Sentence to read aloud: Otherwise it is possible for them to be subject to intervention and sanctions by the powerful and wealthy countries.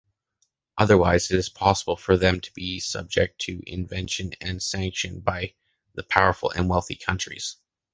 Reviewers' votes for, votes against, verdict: 1, 2, rejected